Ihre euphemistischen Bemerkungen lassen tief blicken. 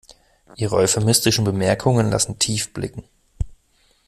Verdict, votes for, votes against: accepted, 2, 0